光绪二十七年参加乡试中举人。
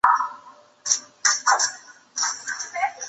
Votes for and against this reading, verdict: 1, 3, rejected